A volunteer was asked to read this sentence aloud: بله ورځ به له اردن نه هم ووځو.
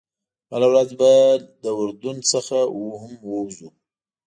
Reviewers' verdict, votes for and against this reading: rejected, 1, 2